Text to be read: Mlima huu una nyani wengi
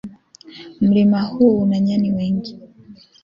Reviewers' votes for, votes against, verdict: 2, 1, accepted